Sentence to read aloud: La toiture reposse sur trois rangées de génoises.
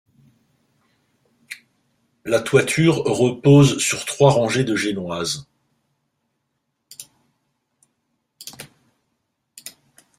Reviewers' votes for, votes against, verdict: 0, 2, rejected